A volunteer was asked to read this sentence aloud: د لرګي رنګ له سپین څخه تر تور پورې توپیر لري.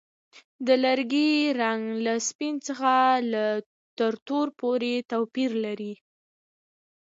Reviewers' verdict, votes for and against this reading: accepted, 2, 0